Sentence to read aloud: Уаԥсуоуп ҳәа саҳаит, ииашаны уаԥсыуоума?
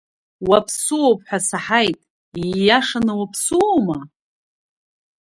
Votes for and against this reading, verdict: 1, 2, rejected